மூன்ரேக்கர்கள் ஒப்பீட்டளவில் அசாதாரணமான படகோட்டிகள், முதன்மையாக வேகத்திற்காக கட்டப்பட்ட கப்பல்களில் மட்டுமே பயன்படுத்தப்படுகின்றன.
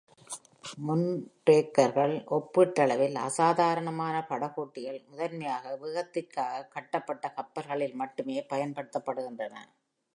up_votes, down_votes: 2, 0